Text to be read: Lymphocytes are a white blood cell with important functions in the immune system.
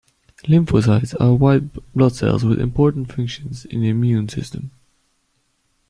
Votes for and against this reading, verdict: 1, 2, rejected